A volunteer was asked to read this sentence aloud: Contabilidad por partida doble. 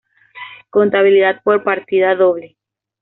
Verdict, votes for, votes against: accepted, 2, 0